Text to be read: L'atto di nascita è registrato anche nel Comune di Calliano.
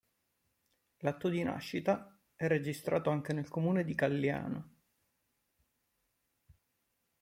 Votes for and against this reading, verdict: 2, 1, accepted